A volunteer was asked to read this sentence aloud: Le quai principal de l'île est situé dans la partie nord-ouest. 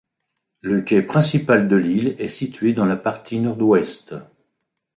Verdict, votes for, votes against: accepted, 3, 2